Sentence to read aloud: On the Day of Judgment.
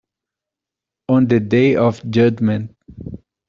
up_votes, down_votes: 2, 0